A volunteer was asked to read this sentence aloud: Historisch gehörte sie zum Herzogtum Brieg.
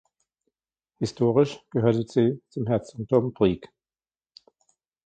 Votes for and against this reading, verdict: 0, 2, rejected